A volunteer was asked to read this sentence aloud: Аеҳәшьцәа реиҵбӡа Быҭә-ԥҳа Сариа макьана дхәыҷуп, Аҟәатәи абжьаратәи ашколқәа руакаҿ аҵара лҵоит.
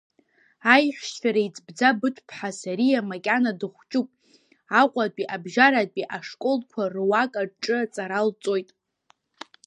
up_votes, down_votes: 0, 2